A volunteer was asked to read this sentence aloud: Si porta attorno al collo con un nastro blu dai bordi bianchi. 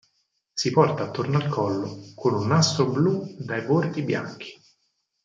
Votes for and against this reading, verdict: 4, 2, accepted